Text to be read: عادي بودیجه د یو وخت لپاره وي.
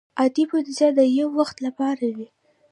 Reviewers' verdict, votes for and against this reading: rejected, 0, 2